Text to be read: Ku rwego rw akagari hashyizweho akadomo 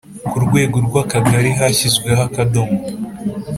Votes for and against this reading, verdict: 3, 0, accepted